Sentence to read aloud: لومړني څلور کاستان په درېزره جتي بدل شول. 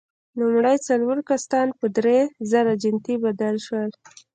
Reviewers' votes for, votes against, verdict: 0, 2, rejected